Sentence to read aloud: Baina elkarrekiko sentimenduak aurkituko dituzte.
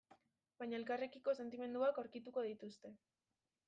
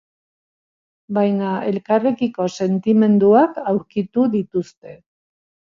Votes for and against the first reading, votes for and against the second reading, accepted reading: 2, 1, 1, 2, first